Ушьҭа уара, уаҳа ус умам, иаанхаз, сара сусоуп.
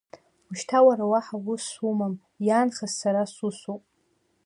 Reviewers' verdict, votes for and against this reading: accepted, 2, 0